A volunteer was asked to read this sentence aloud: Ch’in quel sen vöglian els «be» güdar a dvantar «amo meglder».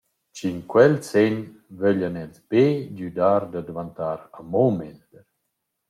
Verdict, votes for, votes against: rejected, 2, 2